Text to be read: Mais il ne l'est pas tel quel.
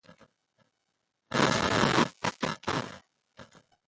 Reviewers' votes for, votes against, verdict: 0, 2, rejected